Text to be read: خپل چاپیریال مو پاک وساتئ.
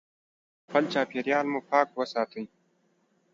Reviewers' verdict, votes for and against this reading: accepted, 2, 0